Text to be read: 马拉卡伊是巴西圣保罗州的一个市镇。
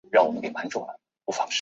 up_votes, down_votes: 1, 5